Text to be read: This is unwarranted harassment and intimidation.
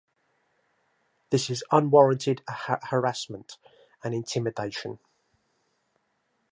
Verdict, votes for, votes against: rejected, 1, 2